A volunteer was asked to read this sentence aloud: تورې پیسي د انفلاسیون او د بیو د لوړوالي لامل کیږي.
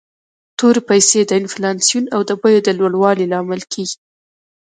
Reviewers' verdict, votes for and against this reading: rejected, 1, 2